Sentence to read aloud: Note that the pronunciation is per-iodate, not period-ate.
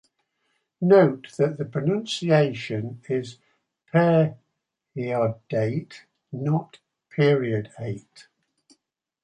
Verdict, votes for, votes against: rejected, 0, 2